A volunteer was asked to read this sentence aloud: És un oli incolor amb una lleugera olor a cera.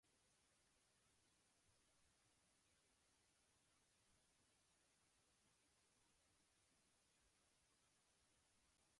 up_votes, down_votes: 0, 2